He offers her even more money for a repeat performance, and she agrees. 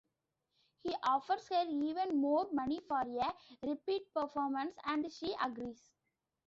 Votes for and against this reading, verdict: 0, 2, rejected